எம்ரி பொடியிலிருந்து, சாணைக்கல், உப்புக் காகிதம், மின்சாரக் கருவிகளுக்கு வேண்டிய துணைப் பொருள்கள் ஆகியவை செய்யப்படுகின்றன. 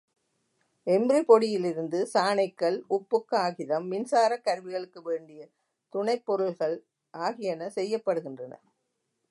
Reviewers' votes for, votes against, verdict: 1, 2, rejected